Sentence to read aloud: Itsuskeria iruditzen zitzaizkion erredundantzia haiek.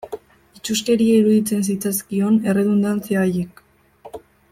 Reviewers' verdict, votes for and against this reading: accepted, 2, 0